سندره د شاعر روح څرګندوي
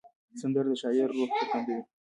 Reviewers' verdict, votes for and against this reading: rejected, 0, 2